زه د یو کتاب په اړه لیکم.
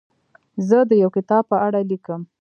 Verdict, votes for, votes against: rejected, 1, 2